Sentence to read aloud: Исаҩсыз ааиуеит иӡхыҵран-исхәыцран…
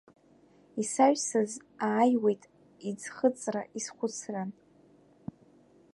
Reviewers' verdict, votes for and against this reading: rejected, 1, 2